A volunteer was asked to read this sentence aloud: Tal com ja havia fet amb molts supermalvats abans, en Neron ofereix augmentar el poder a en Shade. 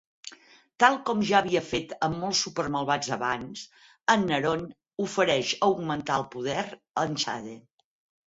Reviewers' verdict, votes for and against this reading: accepted, 4, 0